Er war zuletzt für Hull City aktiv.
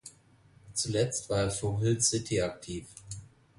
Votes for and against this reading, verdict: 0, 2, rejected